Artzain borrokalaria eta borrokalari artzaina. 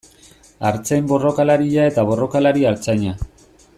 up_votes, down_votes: 2, 0